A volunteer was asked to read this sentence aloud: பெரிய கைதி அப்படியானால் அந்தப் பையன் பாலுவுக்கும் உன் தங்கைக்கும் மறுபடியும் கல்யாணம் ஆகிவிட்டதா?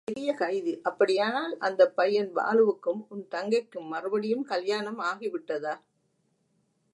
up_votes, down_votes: 2, 0